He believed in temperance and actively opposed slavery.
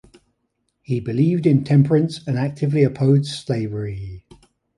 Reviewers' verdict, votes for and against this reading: accepted, 2, 0